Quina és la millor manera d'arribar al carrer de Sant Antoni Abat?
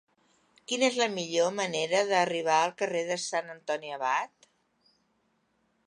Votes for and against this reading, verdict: 2, 1, accepted